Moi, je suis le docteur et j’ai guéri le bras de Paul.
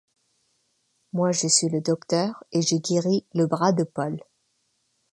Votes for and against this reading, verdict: 2, 0, accepted